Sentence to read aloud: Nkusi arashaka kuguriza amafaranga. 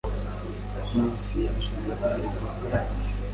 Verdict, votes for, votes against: rejected, 1, 2